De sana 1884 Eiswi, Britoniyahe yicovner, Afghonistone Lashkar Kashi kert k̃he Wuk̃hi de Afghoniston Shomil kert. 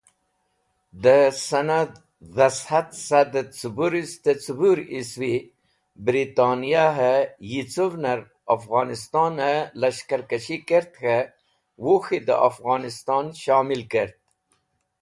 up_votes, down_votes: 0, 2